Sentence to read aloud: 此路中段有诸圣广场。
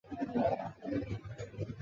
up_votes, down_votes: 0, 3